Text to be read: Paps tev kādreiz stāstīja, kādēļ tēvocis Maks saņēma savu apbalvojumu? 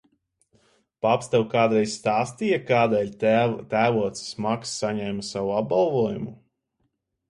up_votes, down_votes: 0, 2